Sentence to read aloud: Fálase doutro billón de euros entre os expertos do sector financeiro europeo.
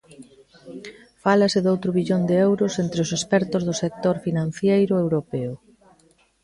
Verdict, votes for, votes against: rejected, 0, 2